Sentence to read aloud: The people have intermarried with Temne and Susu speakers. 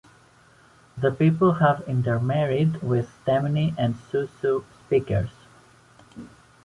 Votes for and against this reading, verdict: 2, 0, accepted